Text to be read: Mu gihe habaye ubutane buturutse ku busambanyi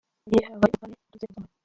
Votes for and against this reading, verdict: 0, 2, rejected